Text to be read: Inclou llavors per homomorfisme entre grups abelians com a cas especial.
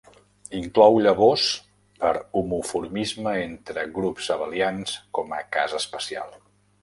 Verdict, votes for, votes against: rejected, 0, 2